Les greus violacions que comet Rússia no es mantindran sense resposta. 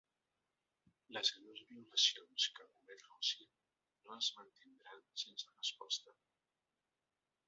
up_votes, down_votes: 1, 2